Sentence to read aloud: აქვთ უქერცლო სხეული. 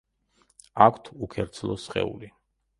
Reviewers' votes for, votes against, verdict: 2, 0, accepted